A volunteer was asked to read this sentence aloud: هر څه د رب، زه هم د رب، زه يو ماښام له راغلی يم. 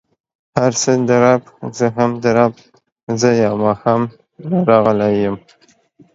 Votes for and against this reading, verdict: 2, 0, accepted